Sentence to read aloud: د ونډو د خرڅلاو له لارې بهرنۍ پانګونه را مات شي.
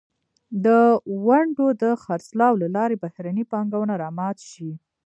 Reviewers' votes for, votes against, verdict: 1, 2, rejected